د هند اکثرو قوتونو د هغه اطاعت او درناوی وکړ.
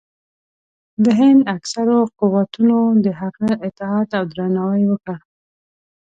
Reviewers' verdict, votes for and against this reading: accepted, 2, 0